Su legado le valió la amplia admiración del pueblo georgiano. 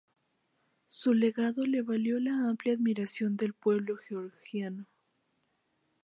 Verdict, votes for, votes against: accepted, 2, 0